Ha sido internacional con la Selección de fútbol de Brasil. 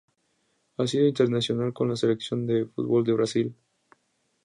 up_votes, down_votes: 2, 0